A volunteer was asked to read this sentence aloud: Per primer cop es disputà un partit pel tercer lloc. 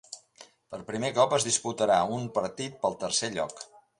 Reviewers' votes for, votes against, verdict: 0, 2, rejected